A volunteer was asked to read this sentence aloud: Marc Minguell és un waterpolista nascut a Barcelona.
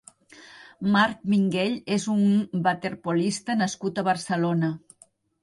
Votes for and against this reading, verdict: 0, 2, rejected